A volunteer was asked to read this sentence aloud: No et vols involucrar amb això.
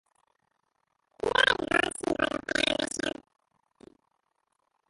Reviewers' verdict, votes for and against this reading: rejected, 0, 2